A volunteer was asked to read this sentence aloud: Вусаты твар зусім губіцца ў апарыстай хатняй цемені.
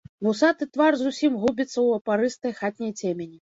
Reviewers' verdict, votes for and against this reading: rejected, 1, 2